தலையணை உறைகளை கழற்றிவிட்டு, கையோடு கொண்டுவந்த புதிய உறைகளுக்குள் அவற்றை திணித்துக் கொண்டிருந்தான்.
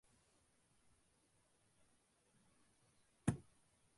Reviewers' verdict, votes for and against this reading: rejected, 0, 2